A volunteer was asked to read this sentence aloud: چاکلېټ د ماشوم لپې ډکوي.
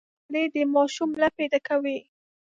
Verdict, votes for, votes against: rejected, 1, 2